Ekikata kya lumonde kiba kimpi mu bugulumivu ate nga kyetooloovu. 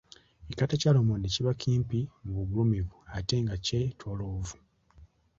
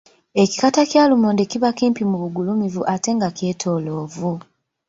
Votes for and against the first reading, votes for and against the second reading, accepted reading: 2, 0, 1, 2, first